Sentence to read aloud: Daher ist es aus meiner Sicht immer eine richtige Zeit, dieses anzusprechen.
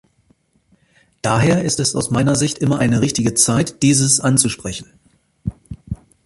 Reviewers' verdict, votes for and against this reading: accepted, 2, 1